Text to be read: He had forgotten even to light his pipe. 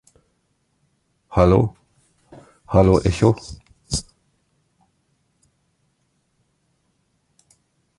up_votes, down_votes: 0, 3